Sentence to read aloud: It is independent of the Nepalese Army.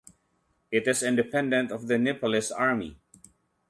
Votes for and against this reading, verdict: 2, 0, accepted